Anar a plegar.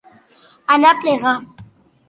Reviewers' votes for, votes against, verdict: 3, 0, accepted